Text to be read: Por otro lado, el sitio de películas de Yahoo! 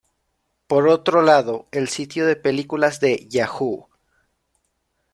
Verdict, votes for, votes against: accepted, 2, 0